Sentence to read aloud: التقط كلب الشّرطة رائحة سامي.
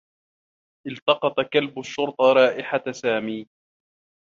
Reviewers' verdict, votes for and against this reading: accepted, 2, 1